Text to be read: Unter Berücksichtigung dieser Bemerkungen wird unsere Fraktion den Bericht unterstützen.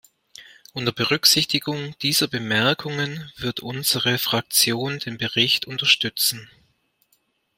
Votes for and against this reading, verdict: 2, 0, accepted